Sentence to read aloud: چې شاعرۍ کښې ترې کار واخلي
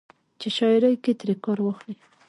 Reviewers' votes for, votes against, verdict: 2, 0, accepted